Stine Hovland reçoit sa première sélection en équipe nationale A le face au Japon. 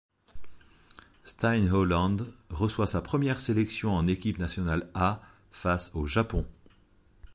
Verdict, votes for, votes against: rejected, 1, 2